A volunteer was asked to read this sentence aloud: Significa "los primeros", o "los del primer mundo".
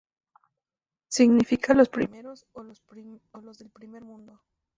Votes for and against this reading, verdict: 0, 2, rejected